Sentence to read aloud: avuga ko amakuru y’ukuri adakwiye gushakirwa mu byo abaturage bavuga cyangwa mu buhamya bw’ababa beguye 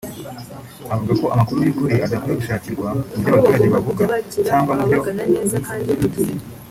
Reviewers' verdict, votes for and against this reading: rejected, 0, 2